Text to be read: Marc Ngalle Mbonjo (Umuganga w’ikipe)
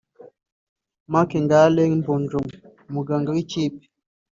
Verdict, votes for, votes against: accepted, 3, 0